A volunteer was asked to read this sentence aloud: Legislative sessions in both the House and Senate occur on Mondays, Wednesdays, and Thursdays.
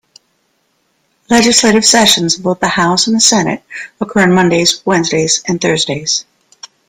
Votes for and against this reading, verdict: 2, 0, accepted